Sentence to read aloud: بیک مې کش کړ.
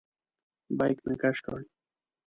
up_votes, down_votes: 2, 0